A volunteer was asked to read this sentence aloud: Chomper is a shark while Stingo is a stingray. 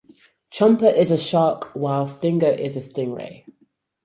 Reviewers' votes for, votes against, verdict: 4, 0, accepted